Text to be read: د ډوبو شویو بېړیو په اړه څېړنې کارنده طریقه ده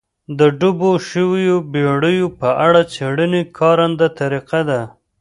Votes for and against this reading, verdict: 2, 0, accepted